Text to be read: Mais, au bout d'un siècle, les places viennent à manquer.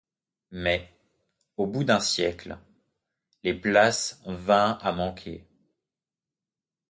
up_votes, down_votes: 0, 2